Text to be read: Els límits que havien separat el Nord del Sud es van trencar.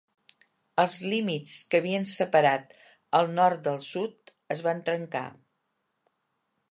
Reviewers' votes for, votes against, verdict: 3, 0, accepted